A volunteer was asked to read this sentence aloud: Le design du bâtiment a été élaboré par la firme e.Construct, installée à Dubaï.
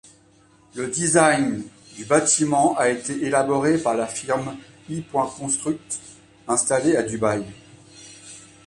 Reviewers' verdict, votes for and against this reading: accepted, 2, 1